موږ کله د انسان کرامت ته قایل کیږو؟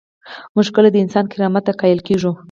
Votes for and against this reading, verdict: 4, 0, accepted